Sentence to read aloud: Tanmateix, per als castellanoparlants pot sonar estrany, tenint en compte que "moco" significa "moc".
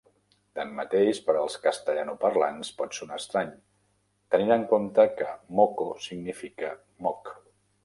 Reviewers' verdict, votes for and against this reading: rejected, 0, 2